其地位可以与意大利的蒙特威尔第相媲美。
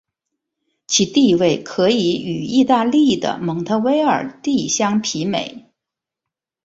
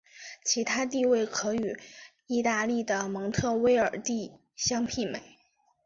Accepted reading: first